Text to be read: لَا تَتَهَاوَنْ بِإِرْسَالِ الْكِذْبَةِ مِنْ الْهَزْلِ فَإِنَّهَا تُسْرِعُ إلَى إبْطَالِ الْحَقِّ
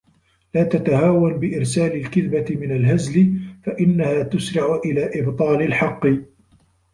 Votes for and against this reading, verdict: 1, 2, rejected